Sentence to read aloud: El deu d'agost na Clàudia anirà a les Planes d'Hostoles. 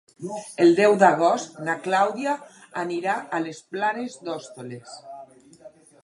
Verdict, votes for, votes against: rejected, 2, 2